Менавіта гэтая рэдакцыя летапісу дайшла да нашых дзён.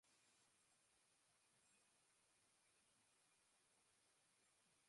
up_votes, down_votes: 0, 2